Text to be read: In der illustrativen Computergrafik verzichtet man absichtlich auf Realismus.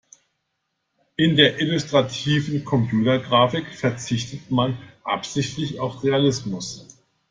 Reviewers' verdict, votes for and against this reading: accepted, 2, 0